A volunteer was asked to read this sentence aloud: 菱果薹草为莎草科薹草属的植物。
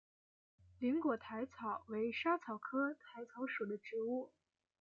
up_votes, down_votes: 2, 0